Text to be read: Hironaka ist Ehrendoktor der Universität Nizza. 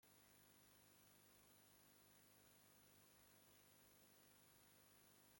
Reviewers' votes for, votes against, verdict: 0, 2, rejected